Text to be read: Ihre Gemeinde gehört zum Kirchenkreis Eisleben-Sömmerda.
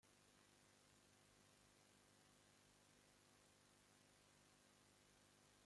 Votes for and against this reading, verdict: 0, 2, rejected